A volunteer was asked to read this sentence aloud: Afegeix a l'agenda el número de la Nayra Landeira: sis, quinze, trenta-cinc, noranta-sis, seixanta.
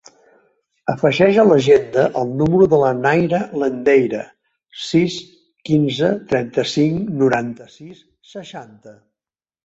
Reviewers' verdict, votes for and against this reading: accepted, 2, 1